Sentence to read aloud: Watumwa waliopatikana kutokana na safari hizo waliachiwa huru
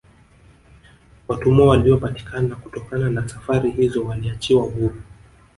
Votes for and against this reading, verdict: 0, 2, rejected